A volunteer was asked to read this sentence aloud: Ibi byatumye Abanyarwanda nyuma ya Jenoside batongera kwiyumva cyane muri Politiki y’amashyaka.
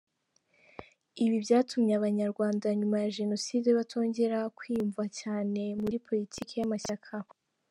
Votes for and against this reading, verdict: 3, 0, accepted